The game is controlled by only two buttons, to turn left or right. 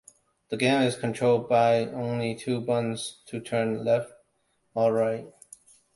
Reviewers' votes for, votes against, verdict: 2, 1, accepted